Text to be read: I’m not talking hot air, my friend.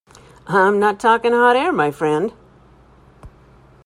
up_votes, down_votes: 0, 2